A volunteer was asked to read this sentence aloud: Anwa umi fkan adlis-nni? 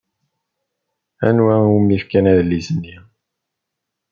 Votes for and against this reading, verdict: 2, 1, accepted